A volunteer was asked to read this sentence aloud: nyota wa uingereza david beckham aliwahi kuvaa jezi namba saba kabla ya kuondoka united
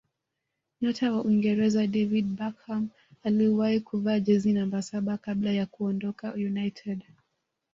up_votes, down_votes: 2, 0